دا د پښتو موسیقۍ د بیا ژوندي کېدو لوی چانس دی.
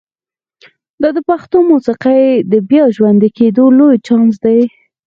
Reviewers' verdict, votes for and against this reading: accepted, 4, 0